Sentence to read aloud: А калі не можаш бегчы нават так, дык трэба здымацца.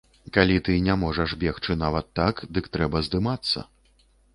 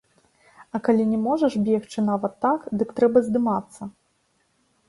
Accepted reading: second